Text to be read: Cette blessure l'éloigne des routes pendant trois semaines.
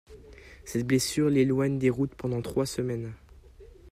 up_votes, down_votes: 2, 0